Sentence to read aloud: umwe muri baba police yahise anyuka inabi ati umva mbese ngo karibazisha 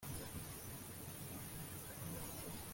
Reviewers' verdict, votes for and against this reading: rejected, 0, 2